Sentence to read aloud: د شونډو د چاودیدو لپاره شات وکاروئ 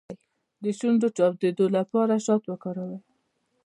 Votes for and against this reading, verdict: 1, 2, rejected